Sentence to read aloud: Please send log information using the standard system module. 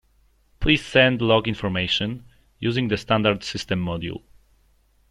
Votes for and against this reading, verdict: 2, 0, accepted